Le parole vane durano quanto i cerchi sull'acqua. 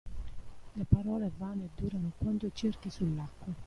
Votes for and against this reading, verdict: 1, 2, rejected